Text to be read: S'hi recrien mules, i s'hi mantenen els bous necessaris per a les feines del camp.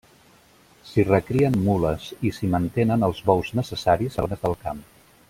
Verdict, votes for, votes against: rejected, 0, 2